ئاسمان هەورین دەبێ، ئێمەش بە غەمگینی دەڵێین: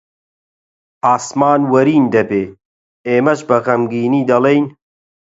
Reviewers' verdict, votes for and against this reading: rejected, 0, 4